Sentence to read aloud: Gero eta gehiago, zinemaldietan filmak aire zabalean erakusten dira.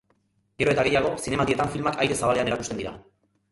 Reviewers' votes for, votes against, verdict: 1, 4, rejected